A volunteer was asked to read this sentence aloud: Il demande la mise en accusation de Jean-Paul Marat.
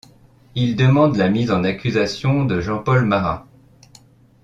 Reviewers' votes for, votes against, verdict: 2, 0, accepted